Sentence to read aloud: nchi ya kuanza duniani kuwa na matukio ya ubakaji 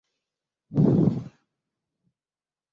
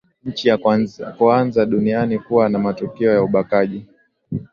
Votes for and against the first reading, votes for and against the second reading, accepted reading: 0, 2, 4, 0, second